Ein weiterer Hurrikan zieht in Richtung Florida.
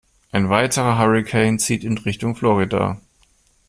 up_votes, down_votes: 2, 0